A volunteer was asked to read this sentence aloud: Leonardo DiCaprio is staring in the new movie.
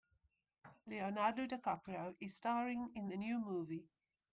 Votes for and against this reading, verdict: 1, 2, rejected